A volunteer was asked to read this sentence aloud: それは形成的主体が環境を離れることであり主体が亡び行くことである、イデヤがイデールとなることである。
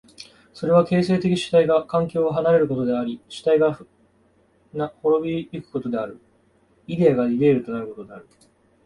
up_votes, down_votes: 0, 2